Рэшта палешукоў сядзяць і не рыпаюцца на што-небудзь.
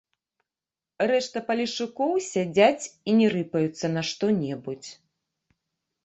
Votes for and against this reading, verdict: 2, 1, accepted